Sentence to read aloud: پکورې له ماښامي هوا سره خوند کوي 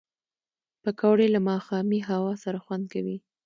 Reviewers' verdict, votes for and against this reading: accepted, 2, 0